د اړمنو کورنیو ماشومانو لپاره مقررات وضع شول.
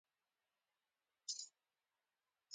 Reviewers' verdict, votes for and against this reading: rejected, 0, 2